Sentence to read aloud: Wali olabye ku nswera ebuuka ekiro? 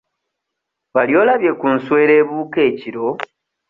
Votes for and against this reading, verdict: 2, 0, accepted